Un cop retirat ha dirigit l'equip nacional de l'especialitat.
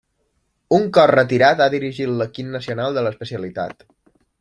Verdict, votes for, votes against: accepted, 2, 0